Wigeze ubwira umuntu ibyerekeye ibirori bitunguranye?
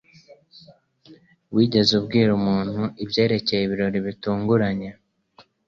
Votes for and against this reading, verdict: 2, 0, accepted